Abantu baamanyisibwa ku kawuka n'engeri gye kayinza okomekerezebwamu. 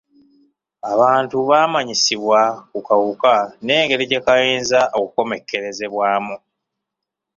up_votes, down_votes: 2, 0